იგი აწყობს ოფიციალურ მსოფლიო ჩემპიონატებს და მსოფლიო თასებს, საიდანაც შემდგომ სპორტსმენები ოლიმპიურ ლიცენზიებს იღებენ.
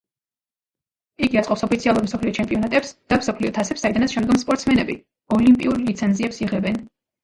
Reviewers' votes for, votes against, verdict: 1, 2, rejected